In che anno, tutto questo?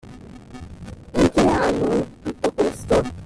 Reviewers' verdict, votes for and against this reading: rejected, 0, 2